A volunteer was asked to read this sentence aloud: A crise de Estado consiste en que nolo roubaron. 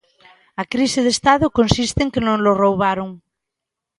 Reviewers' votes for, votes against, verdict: 2, 0, accepted